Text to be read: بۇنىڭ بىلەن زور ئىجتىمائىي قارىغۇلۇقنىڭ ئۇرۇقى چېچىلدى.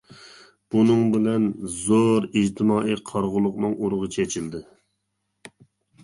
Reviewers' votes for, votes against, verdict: 2, 1, accepted